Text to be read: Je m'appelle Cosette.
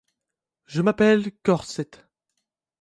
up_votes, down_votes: 0, 2